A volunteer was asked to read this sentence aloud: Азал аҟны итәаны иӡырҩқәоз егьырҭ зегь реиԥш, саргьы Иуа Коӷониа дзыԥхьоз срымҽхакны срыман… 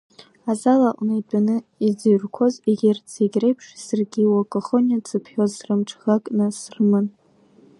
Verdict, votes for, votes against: accepted, 2, 0